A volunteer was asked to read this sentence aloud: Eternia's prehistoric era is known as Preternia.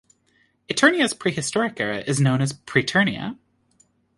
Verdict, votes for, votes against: accepted, 2, 0